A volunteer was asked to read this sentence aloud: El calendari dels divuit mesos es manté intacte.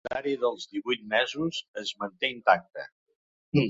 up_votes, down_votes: 1, 2